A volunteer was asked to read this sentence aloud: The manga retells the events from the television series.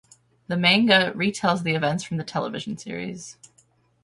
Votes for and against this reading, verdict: 10, 0, accepted